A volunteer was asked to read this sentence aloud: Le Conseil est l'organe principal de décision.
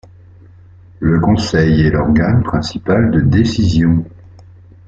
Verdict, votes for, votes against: accepted, 2, 1